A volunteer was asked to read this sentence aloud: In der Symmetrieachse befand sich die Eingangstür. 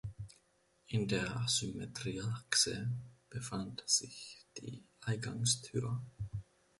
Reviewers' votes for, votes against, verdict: 2, 0, accepted